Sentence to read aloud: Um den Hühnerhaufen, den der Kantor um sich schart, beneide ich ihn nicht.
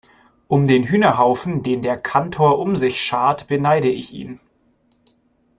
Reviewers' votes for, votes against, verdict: 0, 2, rejected